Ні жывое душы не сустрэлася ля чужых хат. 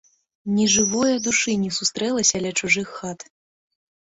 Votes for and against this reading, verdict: 2, 0, accepted